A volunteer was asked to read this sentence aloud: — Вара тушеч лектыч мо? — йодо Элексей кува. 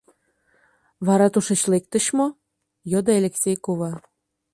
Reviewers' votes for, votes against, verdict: 2, 0, accepted